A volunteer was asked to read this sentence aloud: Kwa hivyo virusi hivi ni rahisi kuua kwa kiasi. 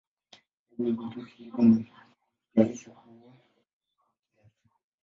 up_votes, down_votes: 0, 2